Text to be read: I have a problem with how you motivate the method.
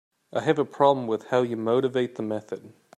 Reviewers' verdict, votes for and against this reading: accepted, 2, 0